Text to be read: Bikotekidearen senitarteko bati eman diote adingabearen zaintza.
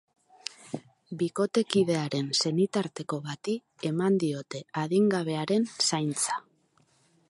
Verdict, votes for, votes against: rejected, 2, 2